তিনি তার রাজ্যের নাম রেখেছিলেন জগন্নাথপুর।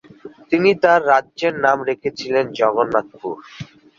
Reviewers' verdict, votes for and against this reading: accepted, 16, 4